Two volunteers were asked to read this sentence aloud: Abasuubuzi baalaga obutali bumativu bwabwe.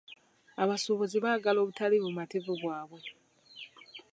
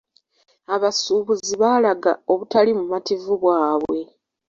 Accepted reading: second